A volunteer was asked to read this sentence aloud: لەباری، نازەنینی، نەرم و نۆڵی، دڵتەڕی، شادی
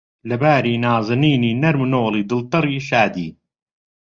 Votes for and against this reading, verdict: 2, 0, accepted